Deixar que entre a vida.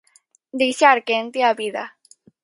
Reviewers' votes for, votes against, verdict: 0, 4, rejected